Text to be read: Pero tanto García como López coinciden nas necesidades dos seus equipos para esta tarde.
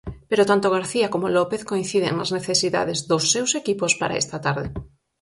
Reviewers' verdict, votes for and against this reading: accepted, 4, 0